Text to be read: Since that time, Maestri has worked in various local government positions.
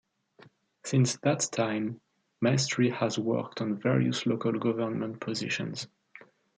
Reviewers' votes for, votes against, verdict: 2, 0, accepted